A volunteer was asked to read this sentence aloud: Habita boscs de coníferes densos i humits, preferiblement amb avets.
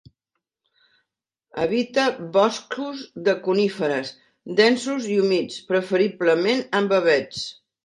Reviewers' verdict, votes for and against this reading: rejected, 0, 3